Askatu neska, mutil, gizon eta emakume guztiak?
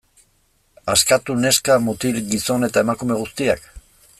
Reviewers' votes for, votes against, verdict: 3, 0, accepted